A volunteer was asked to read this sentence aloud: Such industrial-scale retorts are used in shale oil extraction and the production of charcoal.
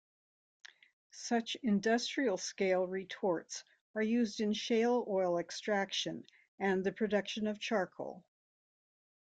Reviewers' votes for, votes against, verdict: 2, 0, accepted